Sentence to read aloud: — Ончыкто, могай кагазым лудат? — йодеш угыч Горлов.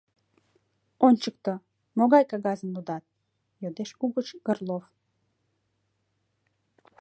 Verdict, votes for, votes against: accepted, 2, 0